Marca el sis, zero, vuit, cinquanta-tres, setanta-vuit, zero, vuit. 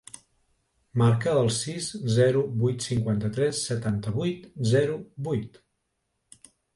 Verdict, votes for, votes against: accepted, 2, 0